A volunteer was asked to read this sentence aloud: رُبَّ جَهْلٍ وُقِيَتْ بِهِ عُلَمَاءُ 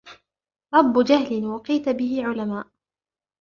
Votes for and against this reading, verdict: 0, 2, rejected